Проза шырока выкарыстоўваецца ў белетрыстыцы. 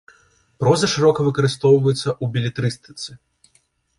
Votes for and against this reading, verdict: 2, 0, accepted